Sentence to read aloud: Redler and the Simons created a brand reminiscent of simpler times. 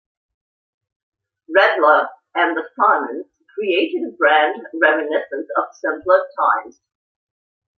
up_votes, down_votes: 2, 0